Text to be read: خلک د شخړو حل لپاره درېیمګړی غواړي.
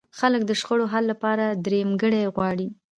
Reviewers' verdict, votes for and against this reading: accepted, 2, 1